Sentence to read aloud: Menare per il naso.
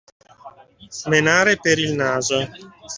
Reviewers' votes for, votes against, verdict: 2, 0, accepted